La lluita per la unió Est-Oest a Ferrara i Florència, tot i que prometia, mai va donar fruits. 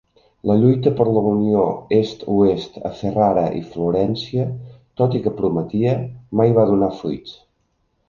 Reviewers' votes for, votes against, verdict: 2, 0, accepted